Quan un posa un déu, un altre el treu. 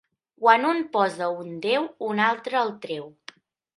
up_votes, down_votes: 3, 0